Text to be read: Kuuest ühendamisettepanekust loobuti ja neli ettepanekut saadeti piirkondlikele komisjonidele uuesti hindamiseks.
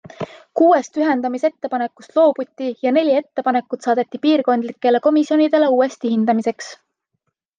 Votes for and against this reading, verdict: 2, 0, accepted